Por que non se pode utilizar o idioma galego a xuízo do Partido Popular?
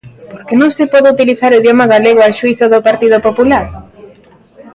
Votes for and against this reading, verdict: 2, 1, accepted